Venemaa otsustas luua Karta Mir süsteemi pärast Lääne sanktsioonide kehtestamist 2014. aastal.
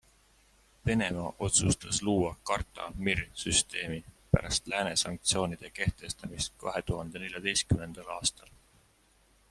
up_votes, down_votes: 0, 2